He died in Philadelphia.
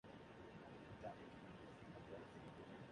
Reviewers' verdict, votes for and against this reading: rejected, 0, 2